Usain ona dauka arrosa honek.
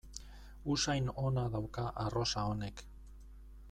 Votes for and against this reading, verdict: 2, 0, accepted